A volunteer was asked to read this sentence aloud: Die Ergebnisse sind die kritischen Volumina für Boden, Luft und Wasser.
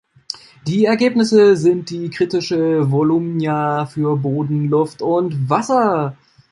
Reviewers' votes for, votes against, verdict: 1, 2, rejected